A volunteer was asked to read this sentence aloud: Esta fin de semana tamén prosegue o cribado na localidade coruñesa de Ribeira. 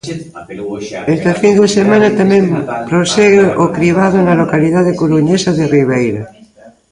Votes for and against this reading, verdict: 0, 2, rejected